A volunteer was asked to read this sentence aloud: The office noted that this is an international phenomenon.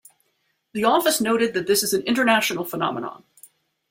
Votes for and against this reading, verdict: 2, 0, accepted